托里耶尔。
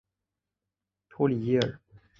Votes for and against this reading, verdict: 2, 0, accepted